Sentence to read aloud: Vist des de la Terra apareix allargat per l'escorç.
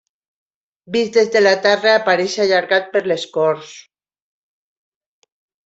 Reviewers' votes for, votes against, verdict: 2, 0, accepted